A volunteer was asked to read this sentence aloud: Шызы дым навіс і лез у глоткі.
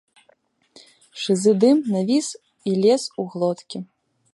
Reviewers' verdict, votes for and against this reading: accepted, 2, 0